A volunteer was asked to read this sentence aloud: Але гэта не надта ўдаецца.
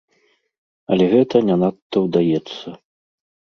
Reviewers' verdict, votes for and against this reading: accepted, 2, 0